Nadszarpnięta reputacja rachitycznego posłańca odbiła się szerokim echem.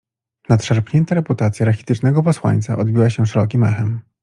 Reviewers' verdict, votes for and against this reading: accepted, 2, 0